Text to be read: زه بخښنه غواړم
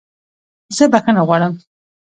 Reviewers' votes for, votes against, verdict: 2, 0, accepted